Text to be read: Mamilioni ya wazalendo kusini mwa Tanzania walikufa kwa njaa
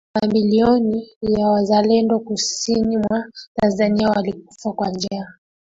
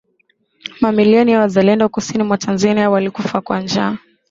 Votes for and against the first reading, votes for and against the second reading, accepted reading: 1, 2, 4, 1, second